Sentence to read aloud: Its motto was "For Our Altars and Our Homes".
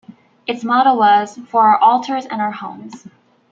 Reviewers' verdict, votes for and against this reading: rejected, 1, 2